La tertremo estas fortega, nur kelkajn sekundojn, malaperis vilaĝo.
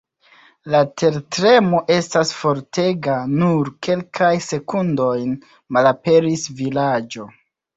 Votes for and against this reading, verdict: 1, 2, rejected